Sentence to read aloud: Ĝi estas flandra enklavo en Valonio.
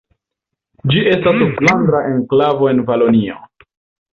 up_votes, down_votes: 0, 2